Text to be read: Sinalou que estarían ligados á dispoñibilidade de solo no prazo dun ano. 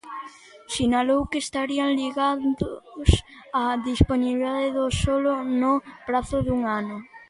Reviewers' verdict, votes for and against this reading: rejected, 0, 2